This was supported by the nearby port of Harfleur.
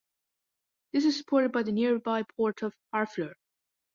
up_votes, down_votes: 2, 0